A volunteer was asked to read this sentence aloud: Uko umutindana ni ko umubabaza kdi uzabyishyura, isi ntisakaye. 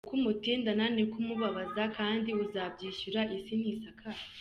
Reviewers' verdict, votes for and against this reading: accepted, 2, 0